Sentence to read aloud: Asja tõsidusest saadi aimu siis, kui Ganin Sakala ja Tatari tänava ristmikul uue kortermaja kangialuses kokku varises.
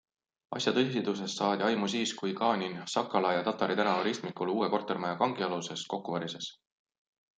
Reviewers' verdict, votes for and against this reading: accepted, 2, 0